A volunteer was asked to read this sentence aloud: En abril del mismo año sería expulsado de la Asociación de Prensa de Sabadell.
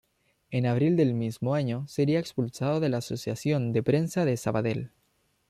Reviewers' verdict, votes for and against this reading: accepted, 2, 1